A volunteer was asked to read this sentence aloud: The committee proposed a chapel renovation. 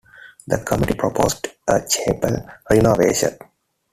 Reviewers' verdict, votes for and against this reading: accepted, 2, 1